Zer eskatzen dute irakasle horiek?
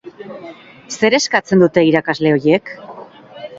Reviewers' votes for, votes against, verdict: 0, 4, rejected